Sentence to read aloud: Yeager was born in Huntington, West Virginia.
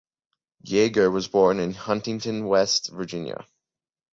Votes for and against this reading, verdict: 2, 0, accepted